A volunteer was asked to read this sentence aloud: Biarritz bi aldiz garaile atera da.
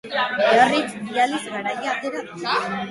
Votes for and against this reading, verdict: 2, 2, rejected